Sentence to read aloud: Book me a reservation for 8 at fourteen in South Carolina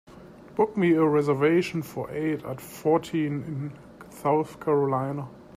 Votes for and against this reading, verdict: 0, 2, rejected